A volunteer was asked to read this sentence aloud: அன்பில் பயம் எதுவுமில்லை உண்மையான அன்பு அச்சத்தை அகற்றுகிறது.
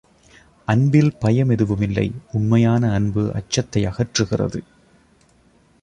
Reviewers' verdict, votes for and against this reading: accepted, 2, 0